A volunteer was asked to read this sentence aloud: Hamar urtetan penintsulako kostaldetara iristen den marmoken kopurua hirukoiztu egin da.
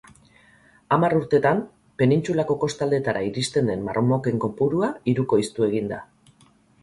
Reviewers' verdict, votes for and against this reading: accepted, 6, 0